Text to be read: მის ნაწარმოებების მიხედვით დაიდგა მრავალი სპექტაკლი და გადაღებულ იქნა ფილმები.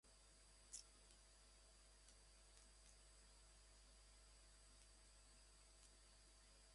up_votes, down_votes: 0, 2